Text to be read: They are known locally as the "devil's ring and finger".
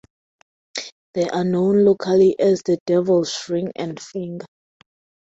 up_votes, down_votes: 4, 0